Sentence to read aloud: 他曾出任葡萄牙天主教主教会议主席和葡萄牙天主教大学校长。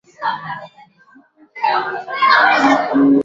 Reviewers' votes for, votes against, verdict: 2, 3, rejected